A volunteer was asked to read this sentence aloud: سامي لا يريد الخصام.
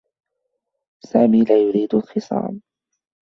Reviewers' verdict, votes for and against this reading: accepted, 2, 1